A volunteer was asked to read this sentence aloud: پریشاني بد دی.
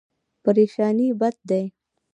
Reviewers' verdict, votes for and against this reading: accepted, 2, 0